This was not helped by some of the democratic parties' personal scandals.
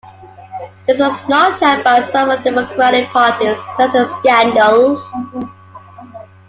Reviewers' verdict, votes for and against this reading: rejected, 1, 2